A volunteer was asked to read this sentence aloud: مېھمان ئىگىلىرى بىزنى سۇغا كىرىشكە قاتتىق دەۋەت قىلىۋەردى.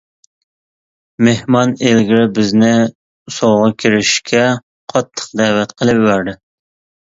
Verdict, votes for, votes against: rejected, 0, 2